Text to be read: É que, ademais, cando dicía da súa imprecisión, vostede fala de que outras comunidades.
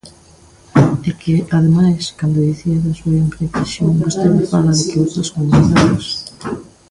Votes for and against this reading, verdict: 0, 2, rejected